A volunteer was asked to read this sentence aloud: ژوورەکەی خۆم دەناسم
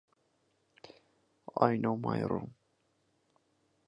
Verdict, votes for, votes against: rejected, 0, 4